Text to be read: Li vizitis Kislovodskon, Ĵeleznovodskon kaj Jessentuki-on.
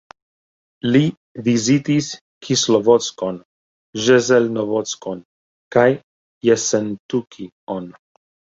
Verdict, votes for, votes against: accepted, 2, 0